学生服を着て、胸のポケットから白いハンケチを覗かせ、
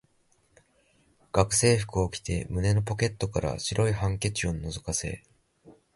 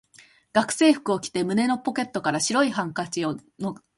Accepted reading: first